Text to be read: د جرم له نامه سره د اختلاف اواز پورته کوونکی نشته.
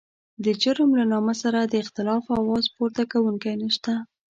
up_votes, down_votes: 2, 0